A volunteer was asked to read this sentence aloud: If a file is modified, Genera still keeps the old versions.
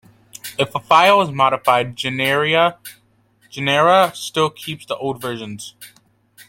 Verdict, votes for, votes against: rejected, 0, 2